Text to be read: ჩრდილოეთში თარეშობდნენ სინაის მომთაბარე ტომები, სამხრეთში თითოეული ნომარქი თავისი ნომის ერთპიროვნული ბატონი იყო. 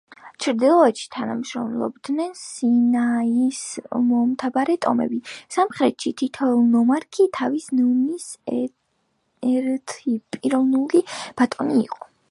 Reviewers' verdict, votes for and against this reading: rejected, 0, 2